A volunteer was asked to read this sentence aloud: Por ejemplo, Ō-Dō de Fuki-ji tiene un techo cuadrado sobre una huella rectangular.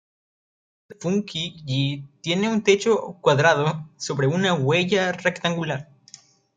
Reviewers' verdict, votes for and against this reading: rejected, 1, 2